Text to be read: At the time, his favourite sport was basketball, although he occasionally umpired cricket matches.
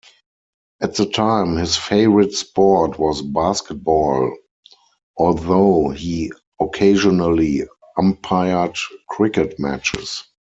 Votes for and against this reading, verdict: 4, 0, accepted